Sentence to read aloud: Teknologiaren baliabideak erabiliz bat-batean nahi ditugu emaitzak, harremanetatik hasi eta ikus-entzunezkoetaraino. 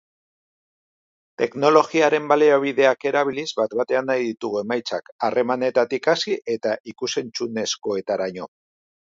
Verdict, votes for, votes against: accepted, 2, 0